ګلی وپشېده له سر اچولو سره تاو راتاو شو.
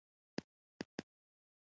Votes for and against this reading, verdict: 1, 2, rejected